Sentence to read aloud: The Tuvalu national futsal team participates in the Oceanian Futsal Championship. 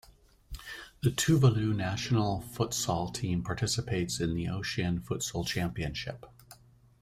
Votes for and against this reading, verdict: 2, 1, accepted